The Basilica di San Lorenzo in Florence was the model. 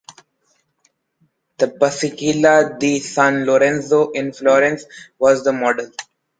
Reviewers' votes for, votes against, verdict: 1, 2, rejected